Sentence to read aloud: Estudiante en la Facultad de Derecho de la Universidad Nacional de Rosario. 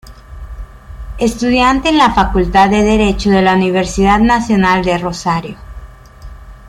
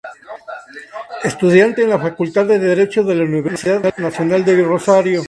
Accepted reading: second